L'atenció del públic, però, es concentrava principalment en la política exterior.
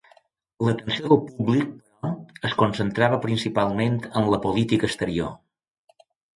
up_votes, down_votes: 0, 2